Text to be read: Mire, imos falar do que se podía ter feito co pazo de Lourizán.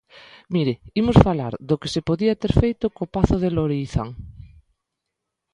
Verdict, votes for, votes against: accepted, 2, 0